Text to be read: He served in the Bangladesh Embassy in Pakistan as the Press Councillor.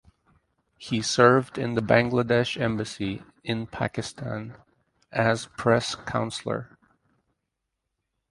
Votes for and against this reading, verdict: 0, 2, rejected